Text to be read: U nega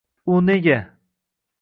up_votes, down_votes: 2, 0